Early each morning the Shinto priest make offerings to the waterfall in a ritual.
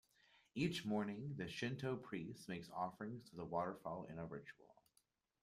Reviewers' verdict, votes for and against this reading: rejected, 0, 2